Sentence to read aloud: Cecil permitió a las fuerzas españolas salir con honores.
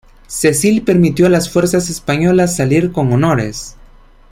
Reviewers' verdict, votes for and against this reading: accepted, 2, 0